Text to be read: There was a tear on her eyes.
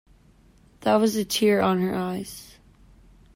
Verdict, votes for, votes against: rejected, 1, 2